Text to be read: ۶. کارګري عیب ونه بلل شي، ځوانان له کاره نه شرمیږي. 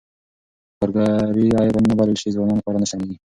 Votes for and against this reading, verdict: 0, 2, rejected